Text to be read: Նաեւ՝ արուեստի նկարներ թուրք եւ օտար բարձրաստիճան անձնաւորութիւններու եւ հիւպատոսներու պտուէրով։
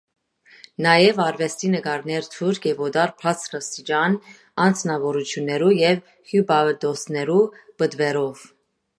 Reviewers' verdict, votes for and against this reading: accepted, 2, 0